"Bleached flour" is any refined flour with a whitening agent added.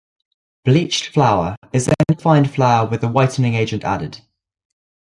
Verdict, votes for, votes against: rejected, 1, 2